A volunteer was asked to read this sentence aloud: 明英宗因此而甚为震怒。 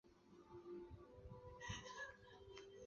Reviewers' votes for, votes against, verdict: 2, 4, rejected